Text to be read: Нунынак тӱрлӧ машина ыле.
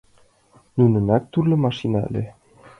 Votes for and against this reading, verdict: 1, 2, rejected